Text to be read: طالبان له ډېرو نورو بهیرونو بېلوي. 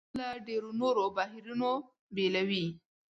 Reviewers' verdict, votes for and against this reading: rejected, 1, 2